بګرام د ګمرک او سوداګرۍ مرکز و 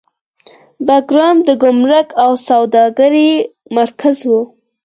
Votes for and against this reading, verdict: 4, 0, accepted